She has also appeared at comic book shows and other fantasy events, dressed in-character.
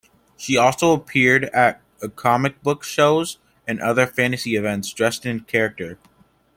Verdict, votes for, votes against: rejected, 1, 2